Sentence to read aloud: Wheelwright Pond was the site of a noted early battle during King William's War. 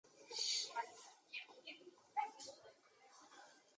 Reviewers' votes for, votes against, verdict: 0, 2, rejected